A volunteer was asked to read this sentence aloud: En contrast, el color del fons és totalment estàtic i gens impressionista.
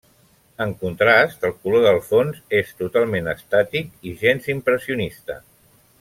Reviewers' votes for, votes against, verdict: 3, 0, accepted